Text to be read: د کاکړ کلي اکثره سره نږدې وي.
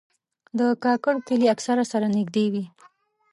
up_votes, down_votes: 2, 0